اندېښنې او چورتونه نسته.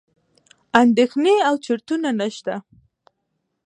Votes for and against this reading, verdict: 1, 2, rejected